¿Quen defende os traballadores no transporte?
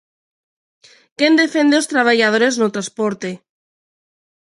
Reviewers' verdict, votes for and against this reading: accepted, 2, 0